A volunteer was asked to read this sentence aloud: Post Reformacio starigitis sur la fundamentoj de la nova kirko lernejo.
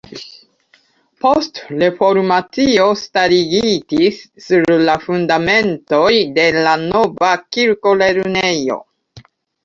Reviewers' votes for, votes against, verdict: 0, 2, rejected